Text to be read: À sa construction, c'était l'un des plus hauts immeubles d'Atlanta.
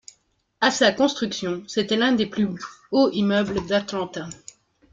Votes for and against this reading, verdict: 2, 1, accepted